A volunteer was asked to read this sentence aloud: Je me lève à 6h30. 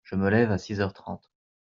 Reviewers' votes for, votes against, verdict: 0, 2, rejected